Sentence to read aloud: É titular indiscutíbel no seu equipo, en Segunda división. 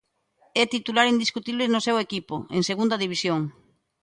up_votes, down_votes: 0, 2